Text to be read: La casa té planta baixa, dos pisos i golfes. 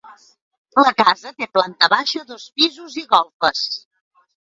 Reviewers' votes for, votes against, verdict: 2, 1, accepted